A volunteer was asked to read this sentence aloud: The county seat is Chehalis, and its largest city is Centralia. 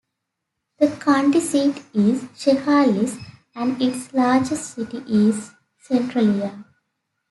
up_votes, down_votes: 2, 1